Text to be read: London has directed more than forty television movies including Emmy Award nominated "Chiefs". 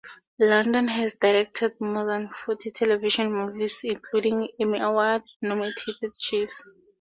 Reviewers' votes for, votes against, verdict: 0, 2, rejected